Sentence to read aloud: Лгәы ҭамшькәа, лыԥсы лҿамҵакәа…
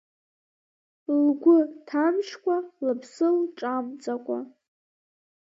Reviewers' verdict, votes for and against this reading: rejected, 1, 2